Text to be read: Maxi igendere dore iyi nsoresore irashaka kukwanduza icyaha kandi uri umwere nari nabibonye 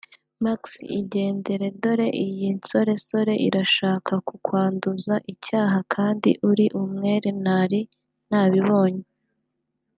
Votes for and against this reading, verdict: 2, 0, accepted